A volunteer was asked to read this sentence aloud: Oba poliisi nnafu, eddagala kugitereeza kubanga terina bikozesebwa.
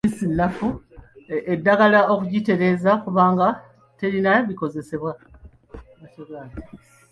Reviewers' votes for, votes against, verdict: 1, 2, rejected